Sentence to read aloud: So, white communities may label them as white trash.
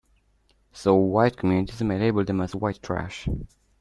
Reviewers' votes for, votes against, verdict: 2, 1, accepted